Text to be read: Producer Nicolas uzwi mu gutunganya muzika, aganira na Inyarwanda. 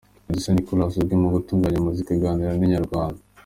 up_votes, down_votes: 2, 1